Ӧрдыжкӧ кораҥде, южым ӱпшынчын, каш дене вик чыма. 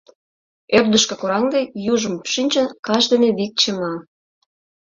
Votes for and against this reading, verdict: 1, 2, rejected